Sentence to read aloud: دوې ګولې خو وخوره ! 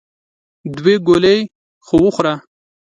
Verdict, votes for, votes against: accepted, 2, 0